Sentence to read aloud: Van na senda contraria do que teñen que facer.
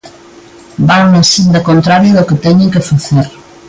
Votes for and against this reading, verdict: 2, 0, accepted